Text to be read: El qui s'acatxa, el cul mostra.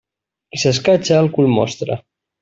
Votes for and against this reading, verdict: 2, 0, accepted